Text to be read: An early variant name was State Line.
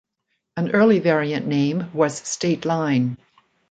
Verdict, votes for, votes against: accepted, 2, 0